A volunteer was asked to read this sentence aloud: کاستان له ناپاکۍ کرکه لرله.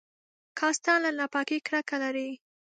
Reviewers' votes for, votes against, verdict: 2, 0, accepted